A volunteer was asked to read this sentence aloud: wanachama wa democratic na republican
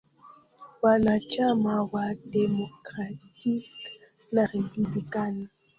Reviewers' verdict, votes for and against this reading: rejected, 0, 2